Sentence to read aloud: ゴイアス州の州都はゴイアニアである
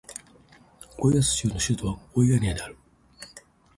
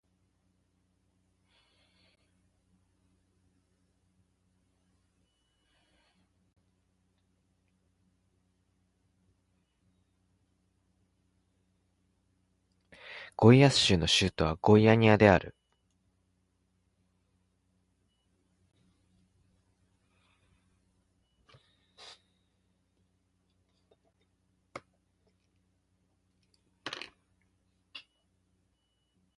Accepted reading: first